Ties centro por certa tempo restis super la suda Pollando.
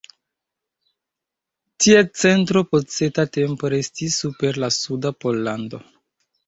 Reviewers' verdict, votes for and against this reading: rejected, 1, 2